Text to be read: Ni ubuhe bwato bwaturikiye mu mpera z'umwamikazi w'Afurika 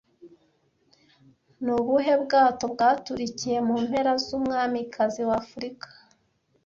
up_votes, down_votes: 2, 0